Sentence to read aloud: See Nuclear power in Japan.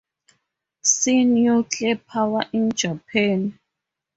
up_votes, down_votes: 2, 2